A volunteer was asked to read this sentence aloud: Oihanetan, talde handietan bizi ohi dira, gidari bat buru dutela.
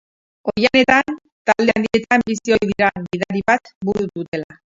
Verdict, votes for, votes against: rejected, 2, 2